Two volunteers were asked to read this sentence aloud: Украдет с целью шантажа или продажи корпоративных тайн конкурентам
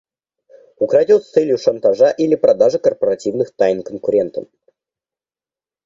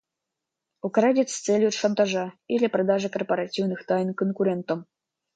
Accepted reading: first